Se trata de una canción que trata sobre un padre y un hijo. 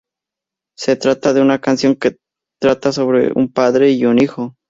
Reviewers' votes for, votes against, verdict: 2, 0, accepted